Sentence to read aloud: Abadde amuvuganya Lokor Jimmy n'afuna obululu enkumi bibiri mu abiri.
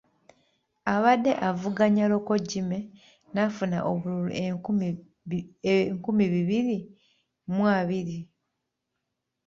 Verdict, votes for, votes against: rejected, 1, 2